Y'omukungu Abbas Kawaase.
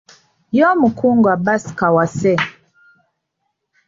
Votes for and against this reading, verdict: 0, 2, rejected